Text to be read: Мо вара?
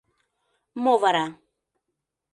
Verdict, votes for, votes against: accepted, 2, 0